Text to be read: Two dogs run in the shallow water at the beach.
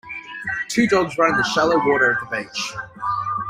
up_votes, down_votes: 1, 2